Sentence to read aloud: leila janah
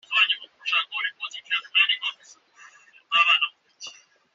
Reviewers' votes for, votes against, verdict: 1, 2, rejected